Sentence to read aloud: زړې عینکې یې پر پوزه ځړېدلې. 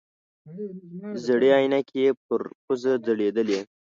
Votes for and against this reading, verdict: 1, 2, rejected